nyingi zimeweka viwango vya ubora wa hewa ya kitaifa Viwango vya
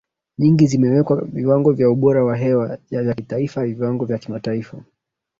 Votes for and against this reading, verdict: 3, 0, accepted